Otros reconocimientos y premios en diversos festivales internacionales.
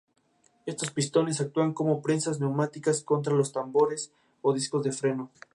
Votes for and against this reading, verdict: 0, 2, rejected